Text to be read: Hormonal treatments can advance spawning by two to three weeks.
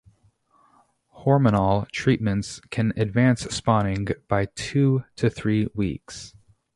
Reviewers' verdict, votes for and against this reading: rejected, 0, 2